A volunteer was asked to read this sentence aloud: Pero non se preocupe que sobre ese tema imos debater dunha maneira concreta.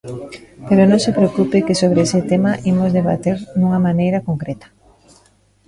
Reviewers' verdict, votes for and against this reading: rejected, 1, 2